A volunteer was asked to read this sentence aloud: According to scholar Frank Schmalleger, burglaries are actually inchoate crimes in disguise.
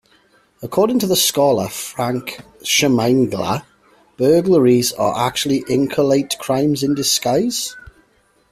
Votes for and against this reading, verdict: 1, 2, rejected